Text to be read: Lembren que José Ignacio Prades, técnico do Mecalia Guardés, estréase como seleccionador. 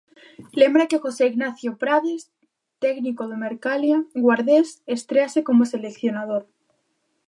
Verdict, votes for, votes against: rejected, 1, 2